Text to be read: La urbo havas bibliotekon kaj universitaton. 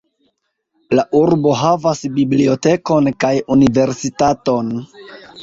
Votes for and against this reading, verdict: 2, 0, accepted